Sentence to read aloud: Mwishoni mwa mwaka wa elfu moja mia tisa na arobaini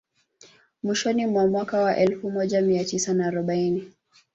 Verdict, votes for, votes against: rejected, 0, 2